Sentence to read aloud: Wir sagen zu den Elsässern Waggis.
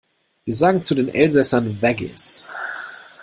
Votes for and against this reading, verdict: 2, 0, accepted